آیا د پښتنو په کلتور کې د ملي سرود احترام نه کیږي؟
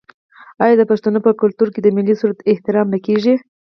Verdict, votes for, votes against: accepted, 6, 0